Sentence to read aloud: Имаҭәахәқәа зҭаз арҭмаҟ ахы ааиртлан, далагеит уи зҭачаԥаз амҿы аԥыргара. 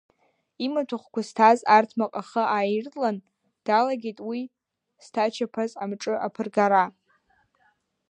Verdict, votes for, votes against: rejected, 1, 2